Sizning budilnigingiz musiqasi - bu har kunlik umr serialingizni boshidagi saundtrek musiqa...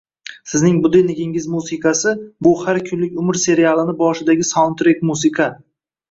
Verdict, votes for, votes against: rejected, 1, 2